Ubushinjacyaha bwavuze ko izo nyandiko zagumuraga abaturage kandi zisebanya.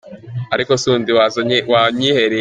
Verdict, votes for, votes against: rejected, 0, 2